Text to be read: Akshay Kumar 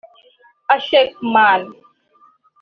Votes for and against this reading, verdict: 0, 2, rejected